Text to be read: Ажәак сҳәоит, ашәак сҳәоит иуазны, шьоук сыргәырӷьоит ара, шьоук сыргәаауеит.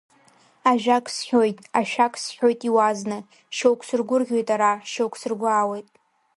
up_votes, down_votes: 3, 0